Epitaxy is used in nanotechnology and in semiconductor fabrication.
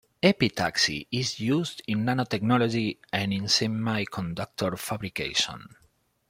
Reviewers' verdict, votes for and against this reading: accepted, 2, 1